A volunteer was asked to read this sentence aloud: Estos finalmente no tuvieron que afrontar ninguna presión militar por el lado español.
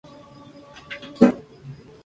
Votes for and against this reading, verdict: 2, 0, accepted